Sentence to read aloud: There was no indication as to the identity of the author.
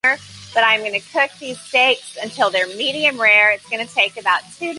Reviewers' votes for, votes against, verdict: 0, 2, rejected